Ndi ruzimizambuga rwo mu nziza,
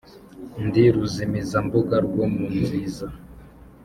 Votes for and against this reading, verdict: 3, 0, accepted